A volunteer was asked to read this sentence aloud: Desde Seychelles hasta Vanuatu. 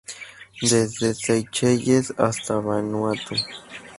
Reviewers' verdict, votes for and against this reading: accepted, 2, 0